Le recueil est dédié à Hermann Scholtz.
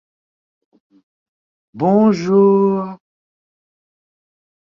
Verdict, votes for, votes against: rejected, 0, 2